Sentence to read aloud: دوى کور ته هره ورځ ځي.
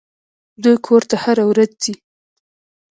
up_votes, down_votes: 0, 2